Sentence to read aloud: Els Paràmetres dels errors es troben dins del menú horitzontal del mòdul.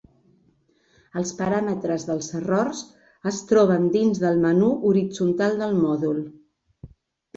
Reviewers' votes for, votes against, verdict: 3, 0, accepted